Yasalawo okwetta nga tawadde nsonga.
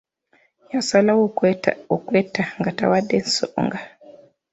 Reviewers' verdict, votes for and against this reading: rejected, 1, 2